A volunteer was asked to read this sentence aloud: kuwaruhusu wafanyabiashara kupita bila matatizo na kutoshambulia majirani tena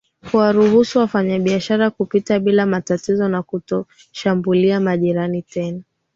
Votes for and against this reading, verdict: 7, 4, accepted